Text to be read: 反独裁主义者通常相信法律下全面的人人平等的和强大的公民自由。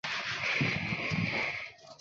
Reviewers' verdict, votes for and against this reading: rejected, 0, 4